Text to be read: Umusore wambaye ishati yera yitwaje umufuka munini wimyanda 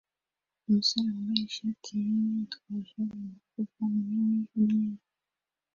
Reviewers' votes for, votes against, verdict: 1, 2, rejected